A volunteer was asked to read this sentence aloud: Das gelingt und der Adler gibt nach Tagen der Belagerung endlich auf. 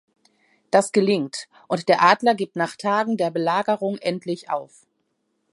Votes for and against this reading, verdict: 2, 0, accepted